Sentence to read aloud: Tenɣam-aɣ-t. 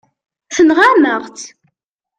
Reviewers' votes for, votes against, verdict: 1, 2, rejected